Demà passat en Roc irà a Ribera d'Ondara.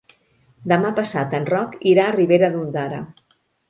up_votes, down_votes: 2, 0